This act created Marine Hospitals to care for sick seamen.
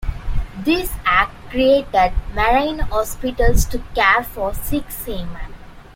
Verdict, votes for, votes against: accepted, 2, 0